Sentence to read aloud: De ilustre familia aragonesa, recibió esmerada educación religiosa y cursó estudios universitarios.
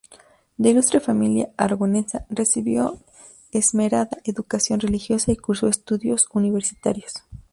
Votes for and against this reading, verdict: 2, 0, accepted